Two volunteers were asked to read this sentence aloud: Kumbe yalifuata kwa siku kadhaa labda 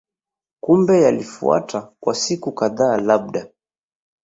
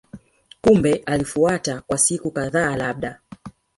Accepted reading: first